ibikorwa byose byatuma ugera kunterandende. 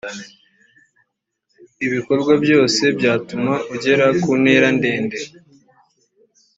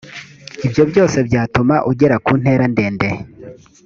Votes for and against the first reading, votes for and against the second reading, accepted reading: 2, 0, 1, 2, first